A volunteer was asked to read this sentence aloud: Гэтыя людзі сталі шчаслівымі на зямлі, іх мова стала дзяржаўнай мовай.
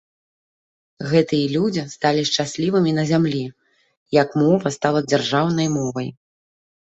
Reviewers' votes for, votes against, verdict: 0, 2, rejected